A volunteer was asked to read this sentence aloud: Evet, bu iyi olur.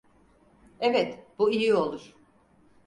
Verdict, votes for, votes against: accepted, 4, 2